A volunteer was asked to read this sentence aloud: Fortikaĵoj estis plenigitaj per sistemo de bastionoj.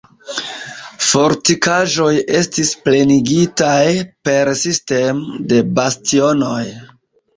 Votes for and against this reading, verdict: 0, 2, rejected